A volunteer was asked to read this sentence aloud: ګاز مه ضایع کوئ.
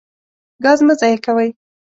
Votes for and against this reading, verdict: 2, 0, accepted